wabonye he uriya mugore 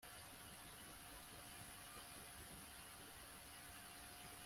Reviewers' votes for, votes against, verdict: 0, 2, rejected